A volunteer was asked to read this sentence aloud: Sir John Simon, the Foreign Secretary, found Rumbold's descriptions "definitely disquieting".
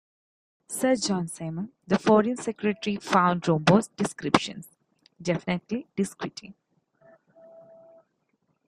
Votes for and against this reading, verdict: 0, 2, rejected